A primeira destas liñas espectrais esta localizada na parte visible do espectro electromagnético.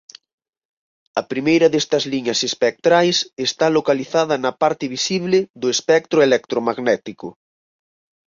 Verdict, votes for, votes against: rejected, 2, 4